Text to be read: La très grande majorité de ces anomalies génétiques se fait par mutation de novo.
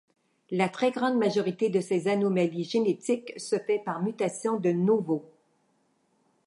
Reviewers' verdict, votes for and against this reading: accepted, 2, 0